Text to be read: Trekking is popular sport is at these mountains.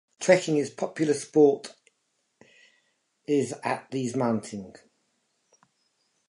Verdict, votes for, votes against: accepted, 2, 0